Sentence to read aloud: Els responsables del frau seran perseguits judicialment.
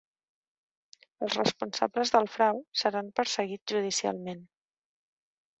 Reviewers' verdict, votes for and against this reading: rejected, 1, 2